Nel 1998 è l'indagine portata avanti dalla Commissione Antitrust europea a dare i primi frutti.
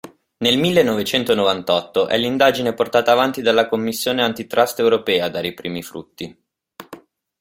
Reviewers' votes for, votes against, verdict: 0, 2, rejected